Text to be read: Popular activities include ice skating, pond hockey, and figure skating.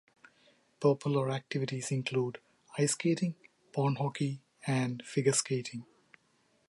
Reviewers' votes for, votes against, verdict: 2, 0, accepted